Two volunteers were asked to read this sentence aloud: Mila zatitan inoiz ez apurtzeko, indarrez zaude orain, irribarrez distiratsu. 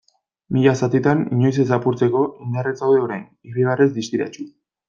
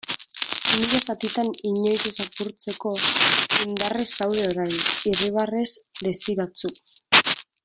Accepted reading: first